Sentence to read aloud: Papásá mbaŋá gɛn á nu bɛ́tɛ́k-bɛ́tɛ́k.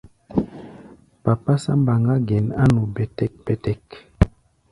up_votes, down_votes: 2, 1